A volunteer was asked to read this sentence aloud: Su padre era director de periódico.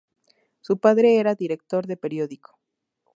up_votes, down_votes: 2, 0